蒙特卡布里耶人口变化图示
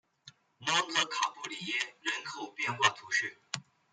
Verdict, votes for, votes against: accepted, 2, 0